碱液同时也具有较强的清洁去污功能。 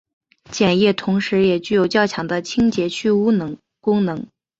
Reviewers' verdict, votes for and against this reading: rejected, 1, 2